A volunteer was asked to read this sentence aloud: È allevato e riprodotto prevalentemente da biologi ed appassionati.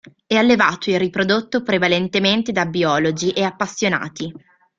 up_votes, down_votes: 1, 2